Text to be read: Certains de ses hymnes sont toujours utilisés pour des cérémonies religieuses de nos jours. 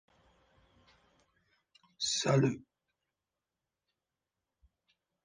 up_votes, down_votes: 0, 2